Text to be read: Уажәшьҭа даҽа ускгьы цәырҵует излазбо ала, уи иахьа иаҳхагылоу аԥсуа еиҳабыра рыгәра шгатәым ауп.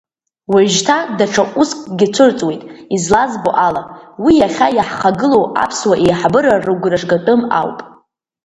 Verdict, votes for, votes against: rejected, 0, 2